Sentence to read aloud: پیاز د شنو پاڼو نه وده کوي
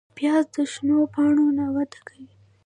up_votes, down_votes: 1, 2